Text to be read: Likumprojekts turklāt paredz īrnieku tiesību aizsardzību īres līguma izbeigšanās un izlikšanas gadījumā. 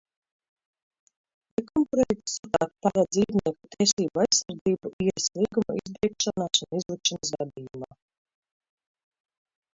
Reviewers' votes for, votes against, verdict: 0, 2, rejected